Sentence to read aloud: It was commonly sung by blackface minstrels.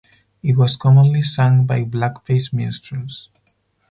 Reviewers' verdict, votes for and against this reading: rejected, 2, 4